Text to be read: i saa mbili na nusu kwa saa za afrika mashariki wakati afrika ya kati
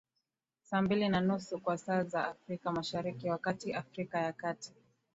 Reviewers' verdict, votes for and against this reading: rejected, 0, 2